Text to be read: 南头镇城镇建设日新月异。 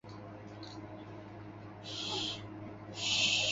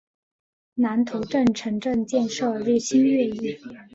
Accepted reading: second